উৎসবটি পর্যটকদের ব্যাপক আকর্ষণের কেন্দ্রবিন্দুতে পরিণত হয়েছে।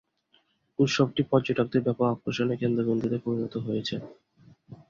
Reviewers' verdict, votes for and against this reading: rejected, 0, 2